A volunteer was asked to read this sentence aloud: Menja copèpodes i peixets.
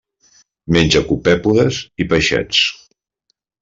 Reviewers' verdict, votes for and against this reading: accepted, 3, 1